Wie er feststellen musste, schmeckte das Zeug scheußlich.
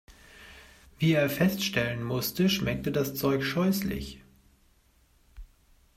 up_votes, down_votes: 2, 0